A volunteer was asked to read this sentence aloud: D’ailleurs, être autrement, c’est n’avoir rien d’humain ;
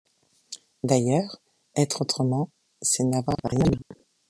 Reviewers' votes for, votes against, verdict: 0, 2, rejected